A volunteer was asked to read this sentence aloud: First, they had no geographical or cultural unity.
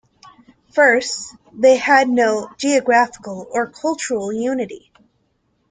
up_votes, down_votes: 2, 0